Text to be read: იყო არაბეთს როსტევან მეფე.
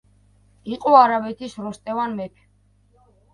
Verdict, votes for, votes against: rejected, 0, 2